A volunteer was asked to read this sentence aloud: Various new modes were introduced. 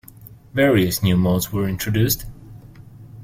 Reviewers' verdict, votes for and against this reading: accepted, 2, 0